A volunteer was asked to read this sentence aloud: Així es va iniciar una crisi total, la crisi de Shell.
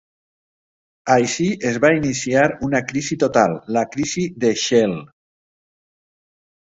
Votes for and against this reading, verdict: 2, 0, accepted